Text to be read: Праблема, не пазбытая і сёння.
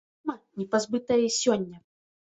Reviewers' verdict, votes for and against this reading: rejected, 2, 3